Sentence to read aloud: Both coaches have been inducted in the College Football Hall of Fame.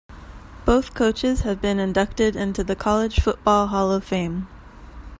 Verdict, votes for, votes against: rejected, 1, 2